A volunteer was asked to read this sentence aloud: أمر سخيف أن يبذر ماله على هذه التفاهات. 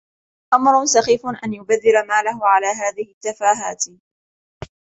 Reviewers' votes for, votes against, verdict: 2, 0, accepted